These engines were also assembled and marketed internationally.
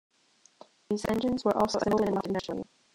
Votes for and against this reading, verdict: 0, 2, rejected